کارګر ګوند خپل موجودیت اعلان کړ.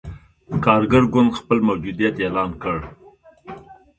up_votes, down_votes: 2, 0